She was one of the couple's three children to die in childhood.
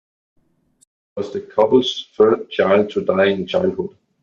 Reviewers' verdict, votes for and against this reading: rejected, 0, 2